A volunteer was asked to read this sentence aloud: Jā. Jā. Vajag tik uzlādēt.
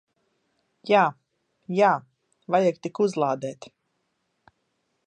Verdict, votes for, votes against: accepted, 2, 1